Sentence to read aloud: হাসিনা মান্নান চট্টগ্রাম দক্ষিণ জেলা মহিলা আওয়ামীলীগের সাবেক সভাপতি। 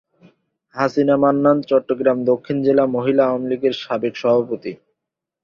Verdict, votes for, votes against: accepted, 7, 3